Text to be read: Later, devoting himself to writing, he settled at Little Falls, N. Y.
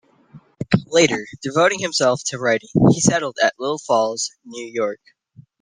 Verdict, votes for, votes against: rejected, 0, 2